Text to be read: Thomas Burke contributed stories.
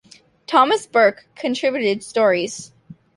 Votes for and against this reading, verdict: 2, 0, accepted